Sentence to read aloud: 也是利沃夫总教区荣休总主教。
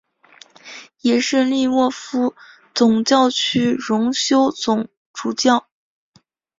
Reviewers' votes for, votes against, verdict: 2, 0, accepted